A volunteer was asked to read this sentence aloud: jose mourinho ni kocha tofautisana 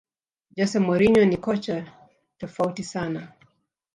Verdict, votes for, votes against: rejected, 0, 2